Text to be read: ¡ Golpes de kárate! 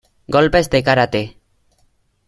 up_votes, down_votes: 2, 0